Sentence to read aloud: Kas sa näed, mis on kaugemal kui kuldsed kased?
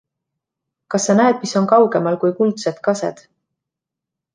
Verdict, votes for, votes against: accepted, 2, 1